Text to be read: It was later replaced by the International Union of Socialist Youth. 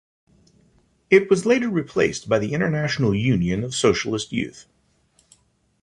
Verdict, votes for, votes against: accepted, 2, 1